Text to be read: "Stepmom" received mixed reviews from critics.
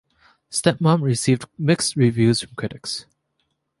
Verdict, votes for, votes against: rejected, 1, 2